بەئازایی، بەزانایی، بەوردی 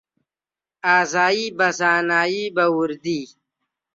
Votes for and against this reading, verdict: 0, 2, rejected